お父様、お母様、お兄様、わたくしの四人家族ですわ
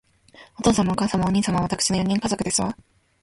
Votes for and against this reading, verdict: 1, 2, rejected